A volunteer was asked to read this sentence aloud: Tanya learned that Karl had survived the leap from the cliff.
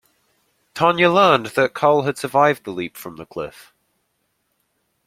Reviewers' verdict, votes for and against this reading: accepted, 2, 0